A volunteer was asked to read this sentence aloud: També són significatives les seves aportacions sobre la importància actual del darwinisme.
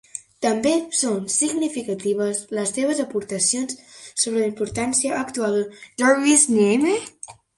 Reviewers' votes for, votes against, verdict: 0, 3, rejected